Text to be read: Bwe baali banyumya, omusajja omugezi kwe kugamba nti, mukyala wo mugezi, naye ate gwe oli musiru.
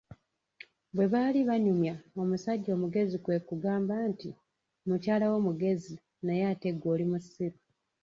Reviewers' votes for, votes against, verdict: 2, 1, accepted